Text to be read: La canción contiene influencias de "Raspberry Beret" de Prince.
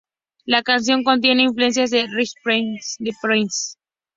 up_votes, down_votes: 0, 2